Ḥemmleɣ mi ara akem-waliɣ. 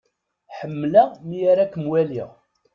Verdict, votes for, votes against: accepted, 2, 0